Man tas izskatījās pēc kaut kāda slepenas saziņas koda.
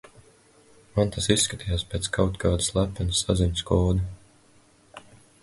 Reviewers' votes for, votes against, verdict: 8, 0, accepted